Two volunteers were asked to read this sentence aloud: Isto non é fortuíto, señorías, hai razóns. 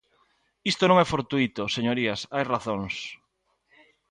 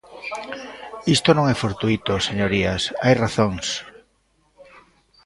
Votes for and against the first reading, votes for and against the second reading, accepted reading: 2, 0, 1, 2, first